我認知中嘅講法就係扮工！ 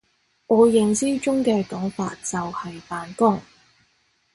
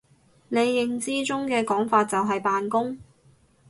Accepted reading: first